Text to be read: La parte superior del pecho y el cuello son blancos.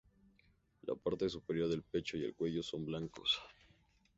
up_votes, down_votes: 0, 2